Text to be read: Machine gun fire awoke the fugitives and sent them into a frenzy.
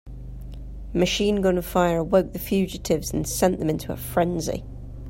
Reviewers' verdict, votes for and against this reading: accepted, 3, 0